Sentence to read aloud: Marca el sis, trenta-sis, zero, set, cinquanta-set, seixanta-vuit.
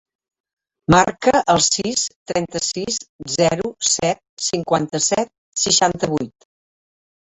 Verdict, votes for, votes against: rejected, 0, 2